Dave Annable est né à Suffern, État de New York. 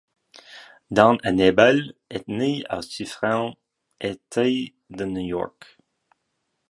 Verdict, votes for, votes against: rejected, 0, 2